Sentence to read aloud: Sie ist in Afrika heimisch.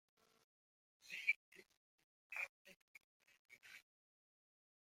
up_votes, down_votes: 0, 2